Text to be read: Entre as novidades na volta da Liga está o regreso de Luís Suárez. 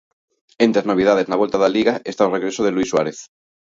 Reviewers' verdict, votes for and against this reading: accepted, 2, 0